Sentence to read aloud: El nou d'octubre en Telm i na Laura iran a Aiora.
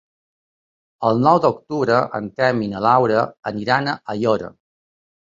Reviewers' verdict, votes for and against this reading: accepted, 2, 0